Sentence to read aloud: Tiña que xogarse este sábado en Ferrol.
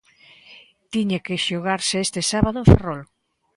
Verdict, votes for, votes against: accepted, 2, 0